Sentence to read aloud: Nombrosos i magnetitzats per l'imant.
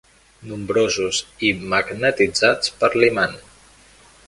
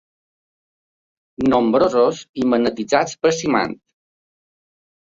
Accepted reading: first